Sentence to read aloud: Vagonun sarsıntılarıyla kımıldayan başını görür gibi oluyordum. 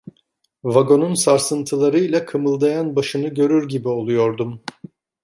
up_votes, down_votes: 2, 0